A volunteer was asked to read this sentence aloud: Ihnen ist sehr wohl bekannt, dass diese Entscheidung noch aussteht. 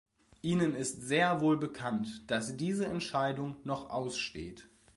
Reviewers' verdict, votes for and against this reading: accepted, 2, 0